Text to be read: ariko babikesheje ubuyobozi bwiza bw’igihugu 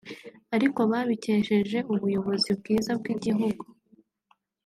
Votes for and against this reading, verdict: 1, 2, rejected